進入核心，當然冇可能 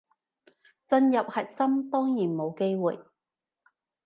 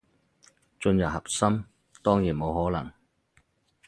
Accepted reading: second